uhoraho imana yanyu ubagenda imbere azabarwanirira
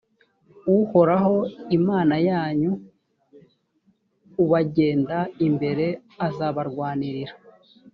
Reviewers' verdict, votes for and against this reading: accepted, 2, 0